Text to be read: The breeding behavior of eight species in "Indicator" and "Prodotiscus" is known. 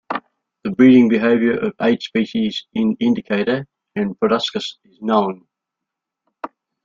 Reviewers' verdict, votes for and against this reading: rejected, 1, 2